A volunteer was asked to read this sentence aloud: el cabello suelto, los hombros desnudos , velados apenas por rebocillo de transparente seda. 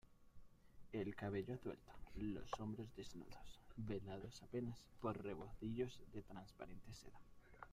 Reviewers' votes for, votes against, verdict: 0, 2, rejected